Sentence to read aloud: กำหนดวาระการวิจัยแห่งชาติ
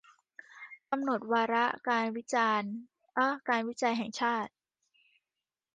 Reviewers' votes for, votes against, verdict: 0, 2, rejected